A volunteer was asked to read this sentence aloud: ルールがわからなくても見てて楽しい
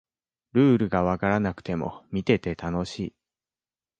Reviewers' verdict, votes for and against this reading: accepted, 2, 0